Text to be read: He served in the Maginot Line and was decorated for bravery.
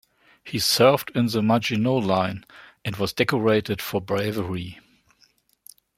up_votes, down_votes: 2, 0